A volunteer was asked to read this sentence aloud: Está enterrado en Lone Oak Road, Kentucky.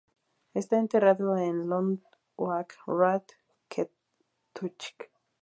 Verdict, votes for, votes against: rejected, 0, 2